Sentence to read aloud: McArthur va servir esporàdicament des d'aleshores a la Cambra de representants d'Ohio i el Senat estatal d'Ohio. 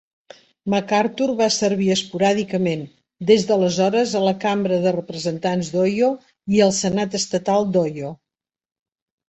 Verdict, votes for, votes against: rejected, 1, 2